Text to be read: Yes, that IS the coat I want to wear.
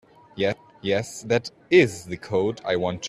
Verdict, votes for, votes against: rejected, 0, 2